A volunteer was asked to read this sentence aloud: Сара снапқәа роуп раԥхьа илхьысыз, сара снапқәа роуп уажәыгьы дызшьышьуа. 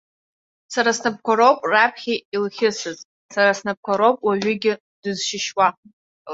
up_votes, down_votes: 2, 0